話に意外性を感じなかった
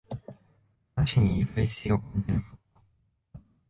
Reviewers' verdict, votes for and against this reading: rejected, 0, 3